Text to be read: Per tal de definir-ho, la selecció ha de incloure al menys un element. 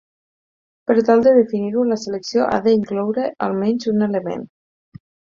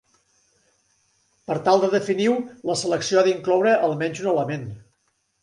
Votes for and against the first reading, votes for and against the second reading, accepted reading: 6, 2, 1, 2, first